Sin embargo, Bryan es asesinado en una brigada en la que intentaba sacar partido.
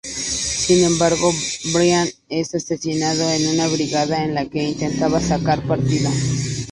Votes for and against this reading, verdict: 2, 0, accepted